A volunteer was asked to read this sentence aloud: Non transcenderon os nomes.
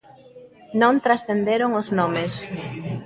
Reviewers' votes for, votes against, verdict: 0, 2, rejected